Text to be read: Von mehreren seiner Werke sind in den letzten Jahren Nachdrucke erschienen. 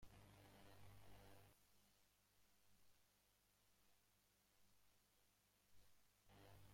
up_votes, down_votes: 0, 2